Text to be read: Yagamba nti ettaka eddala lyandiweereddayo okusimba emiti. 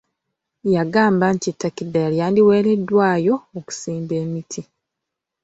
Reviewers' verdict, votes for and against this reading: accepted, 2, 0